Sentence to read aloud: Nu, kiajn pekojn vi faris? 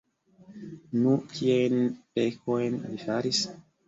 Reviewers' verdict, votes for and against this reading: rejected, 1, 2